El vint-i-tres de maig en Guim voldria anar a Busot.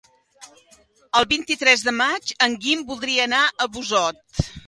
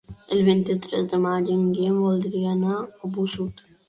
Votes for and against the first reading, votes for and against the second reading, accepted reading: 2, 0, 0, 2, first